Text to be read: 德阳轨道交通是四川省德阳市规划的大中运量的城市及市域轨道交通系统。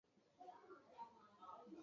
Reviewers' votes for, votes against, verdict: 1, 5, rejected